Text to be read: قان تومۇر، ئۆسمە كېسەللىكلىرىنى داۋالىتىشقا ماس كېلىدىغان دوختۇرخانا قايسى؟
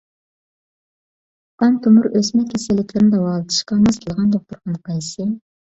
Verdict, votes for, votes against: rejected, 1, 2